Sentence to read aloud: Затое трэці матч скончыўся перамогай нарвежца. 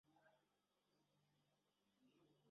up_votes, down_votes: 0, 2